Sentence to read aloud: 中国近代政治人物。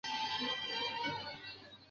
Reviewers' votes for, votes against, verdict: 0, 2, rejected